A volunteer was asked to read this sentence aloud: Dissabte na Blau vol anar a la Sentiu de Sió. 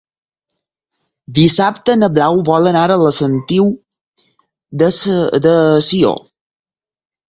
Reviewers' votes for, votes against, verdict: 0, 4, rejected